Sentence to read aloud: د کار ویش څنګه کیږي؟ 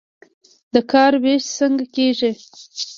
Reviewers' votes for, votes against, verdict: 4, 0, accepted